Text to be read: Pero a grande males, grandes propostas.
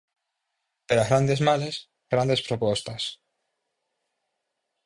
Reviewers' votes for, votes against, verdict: 2, 2, rejected